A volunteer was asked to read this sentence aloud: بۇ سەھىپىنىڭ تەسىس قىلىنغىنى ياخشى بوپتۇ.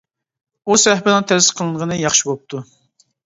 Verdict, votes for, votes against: rejected, 1, 2